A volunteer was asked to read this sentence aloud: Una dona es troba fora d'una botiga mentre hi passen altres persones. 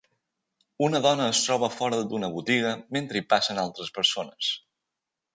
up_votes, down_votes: 3, 0